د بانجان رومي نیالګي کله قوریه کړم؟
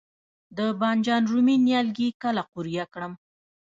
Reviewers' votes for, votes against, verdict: 0, 2, rejected